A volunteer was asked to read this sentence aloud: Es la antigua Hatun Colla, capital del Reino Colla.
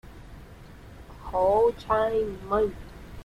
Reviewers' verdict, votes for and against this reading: rejected, 0, 2